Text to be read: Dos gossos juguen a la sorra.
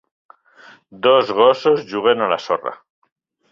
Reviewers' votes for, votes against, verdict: 3, 0, accepted